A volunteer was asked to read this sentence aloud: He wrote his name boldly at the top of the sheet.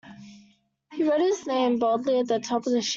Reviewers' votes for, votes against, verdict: 0, 2, rejected